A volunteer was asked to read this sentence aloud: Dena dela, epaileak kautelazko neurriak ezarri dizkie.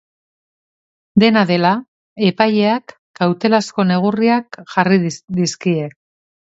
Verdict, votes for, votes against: rejected, 0, 3